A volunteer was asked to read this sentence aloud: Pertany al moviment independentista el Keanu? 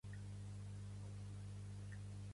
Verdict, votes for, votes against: rejected, 0, 2